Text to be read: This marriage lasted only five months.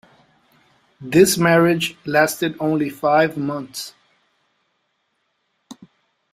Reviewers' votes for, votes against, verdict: 2, 0, accepted